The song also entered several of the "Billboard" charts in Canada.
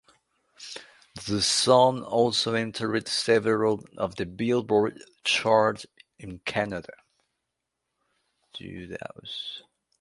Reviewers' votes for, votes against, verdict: 0, 2, rejected